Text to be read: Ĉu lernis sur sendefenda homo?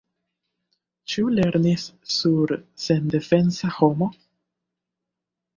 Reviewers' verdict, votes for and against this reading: rejected, 0, 2